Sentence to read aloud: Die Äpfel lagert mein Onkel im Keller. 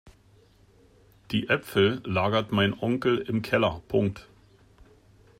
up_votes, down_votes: 0, 2